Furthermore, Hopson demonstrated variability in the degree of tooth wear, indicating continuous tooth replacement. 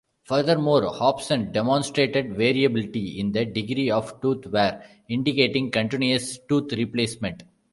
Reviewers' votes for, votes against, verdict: 1, 2, rejected